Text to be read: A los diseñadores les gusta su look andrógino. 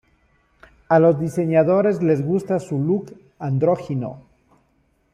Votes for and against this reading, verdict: 2, 0, accepted